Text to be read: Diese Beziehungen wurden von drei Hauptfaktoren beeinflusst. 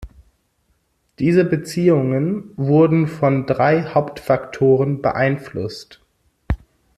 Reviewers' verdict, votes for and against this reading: accepted, 2, 0